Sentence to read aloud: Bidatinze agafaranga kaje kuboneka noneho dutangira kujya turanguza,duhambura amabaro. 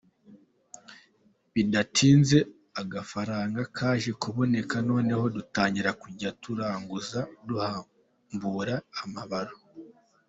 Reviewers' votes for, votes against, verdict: 2, 0, accepted